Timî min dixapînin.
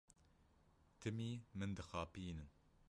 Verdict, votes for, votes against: rejected, 1, 2